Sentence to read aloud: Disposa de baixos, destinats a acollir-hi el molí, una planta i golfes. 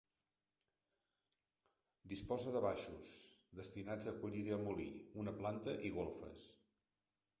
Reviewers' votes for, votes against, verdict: 2, 0, accepted